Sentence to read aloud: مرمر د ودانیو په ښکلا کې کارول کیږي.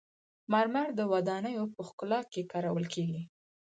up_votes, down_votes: 2, 4